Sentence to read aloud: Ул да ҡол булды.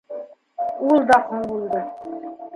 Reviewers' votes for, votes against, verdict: 0, 2, rejected